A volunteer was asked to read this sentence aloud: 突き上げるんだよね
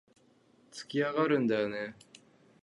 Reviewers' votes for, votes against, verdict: 0, 3, rejected